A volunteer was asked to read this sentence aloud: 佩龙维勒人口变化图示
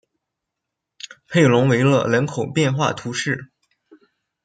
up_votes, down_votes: 2, 0